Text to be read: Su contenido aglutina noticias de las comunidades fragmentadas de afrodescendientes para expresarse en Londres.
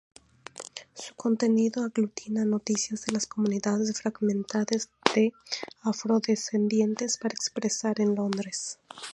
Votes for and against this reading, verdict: 2, 0, accepted